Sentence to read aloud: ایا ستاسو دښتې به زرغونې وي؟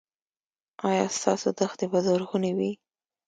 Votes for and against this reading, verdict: 1, 2, rejected